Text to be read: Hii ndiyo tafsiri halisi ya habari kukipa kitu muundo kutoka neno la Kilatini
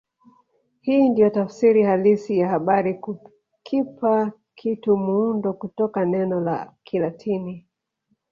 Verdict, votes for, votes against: rejected, 1, 2